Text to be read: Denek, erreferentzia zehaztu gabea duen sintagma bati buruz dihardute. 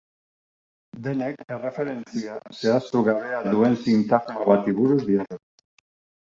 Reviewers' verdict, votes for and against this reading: rejected, 0, 2